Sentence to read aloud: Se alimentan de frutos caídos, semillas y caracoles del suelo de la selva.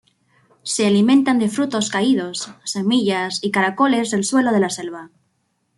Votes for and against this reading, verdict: 2, 0, accepted